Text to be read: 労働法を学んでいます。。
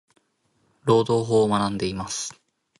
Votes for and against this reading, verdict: 2, 1, accepted